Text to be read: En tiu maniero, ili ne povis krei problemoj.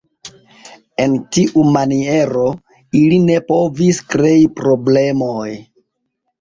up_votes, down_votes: 2, 1